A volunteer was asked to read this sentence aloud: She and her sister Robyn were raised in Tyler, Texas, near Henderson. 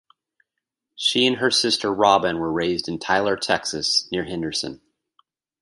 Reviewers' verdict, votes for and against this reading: accepted, 2, 0